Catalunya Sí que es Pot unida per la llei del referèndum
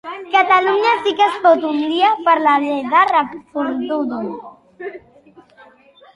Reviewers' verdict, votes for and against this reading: rejected, 0, 2